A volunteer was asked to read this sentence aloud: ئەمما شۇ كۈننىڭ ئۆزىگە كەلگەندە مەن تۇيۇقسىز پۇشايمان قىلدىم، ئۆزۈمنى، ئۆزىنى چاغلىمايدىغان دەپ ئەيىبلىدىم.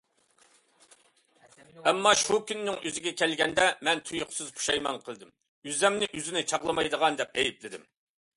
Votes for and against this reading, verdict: 2, 0, accepted